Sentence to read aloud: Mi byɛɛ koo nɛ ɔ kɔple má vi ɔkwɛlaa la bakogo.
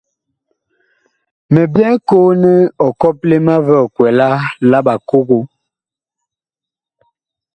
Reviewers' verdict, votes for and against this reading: rejected, 1, 2